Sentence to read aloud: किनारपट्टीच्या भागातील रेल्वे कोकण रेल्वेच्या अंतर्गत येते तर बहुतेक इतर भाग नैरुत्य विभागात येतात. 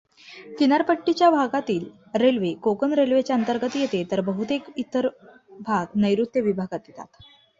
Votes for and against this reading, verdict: 2, 0, accepted